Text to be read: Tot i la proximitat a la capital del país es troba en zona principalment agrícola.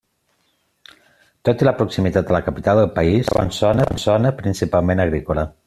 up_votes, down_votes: 0, 2